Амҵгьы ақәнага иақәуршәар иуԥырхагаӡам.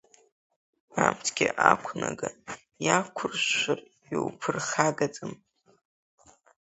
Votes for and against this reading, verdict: 0, 2, rejected